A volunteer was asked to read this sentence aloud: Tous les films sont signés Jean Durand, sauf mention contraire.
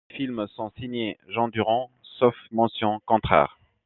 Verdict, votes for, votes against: rejected, 0, 2